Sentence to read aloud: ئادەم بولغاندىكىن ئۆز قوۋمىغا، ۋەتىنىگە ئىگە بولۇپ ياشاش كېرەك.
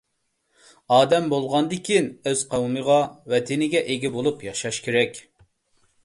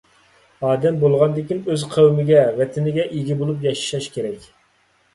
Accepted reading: first